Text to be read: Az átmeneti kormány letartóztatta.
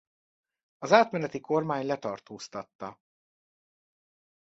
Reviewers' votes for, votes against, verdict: 2, 0, accepted